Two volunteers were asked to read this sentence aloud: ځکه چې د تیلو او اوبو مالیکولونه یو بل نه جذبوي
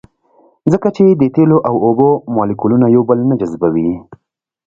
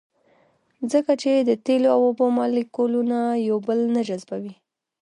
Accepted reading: first